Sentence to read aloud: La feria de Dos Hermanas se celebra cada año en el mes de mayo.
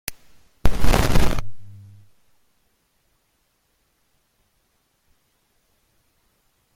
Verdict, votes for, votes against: rejected, 0, 2